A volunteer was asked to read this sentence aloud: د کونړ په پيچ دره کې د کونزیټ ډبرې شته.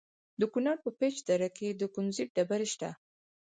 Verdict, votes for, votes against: accepted, 4, 0